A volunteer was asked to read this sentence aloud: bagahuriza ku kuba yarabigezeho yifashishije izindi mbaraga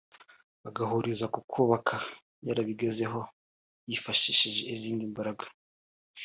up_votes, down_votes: 2, 1